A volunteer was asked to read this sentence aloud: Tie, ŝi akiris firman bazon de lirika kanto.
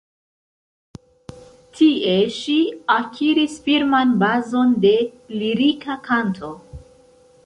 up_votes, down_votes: 2, 0